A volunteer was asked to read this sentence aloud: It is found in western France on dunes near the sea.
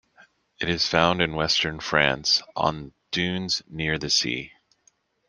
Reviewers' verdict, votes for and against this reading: accepted, 2, 0